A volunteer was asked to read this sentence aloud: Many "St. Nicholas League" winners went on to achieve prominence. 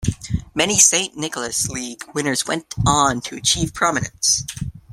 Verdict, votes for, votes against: accepted, 2, 1